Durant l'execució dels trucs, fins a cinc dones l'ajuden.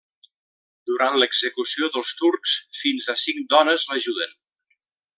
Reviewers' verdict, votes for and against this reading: rejected, 0, 2